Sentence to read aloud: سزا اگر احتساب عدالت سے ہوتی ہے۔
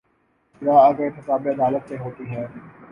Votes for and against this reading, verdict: 2, 3, rejected